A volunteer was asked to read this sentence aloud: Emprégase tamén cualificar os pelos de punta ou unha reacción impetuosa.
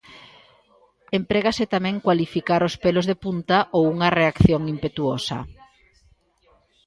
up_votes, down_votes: 2, 0